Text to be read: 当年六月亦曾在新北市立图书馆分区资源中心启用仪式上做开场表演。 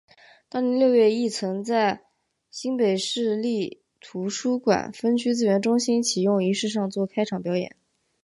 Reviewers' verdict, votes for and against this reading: accepted, 3, 0